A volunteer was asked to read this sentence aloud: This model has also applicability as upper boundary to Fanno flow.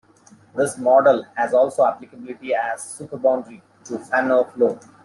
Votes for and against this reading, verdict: 1, 2, rejected